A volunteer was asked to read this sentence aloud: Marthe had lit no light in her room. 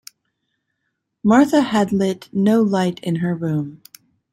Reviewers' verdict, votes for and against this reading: accepted, 2, 0